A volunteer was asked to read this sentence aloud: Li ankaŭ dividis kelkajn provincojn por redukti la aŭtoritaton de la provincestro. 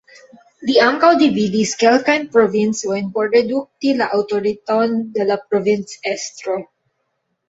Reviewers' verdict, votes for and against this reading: rejected, 0, 2